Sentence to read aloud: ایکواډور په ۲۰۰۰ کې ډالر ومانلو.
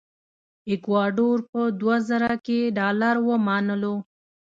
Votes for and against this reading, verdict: 0, 2, rejected